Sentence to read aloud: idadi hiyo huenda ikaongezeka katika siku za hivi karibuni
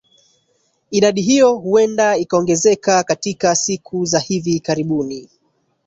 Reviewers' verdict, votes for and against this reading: accepted, 8, 1